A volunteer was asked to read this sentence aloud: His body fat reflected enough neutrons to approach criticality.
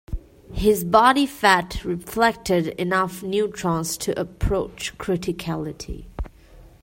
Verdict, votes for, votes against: accepted, 2, 0